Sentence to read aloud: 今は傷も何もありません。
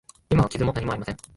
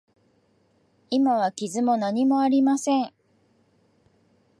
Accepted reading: second